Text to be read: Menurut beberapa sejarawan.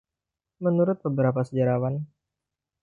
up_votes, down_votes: 2, 0